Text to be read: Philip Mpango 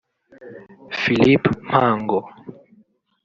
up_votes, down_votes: 1, 2